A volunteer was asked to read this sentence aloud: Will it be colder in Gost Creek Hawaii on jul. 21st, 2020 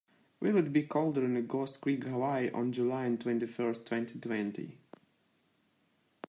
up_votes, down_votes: 0, 2